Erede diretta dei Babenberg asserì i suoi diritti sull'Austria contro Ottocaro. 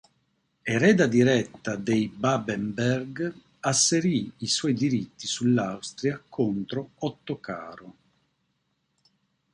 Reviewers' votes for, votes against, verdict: 1, 2, rejected